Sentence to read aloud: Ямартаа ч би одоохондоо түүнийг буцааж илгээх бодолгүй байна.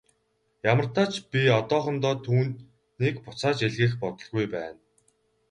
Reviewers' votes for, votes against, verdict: 4, 0, accepted